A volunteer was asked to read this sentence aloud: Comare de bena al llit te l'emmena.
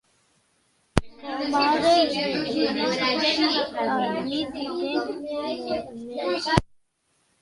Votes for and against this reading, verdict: 0, 3, rejected